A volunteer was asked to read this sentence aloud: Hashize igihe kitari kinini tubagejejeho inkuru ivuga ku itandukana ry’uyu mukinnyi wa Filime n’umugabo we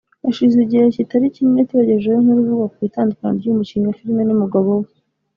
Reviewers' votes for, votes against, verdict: 1, 2, rejected